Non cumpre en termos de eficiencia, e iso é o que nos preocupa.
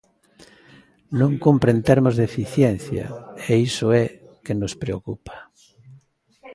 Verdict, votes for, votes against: rejected, 0, 2